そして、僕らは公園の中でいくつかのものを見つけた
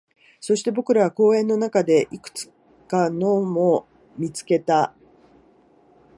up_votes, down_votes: 1, 2